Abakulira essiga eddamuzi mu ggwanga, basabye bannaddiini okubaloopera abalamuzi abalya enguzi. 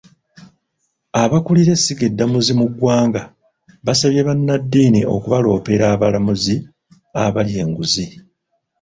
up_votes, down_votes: 2, 0